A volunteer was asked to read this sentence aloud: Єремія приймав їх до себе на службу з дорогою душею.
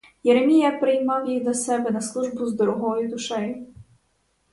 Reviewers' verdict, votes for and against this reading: accepted, 4, 0